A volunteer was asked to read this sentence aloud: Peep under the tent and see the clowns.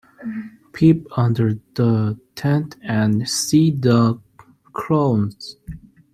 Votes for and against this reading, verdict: 0, 2, rejected